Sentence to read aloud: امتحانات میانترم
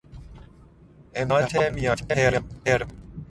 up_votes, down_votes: 0, 2